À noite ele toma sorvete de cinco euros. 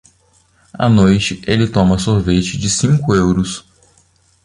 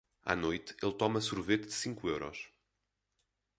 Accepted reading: first